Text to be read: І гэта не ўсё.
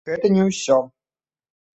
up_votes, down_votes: 1, 2